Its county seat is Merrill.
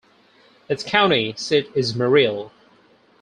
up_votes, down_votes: 2, 2